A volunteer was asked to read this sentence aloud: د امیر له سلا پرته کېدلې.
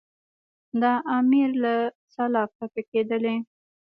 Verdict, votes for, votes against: rejected, 1, 2